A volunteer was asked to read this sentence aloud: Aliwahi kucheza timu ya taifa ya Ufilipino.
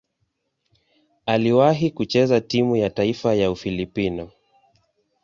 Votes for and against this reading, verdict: 2, 0, accepted